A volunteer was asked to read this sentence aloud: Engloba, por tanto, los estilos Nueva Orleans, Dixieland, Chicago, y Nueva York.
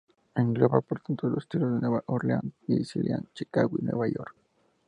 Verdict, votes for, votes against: accepted, 4, 0